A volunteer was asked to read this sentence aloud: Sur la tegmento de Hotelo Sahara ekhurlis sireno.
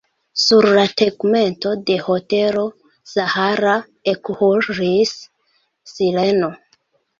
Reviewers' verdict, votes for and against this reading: rejected, 1, 2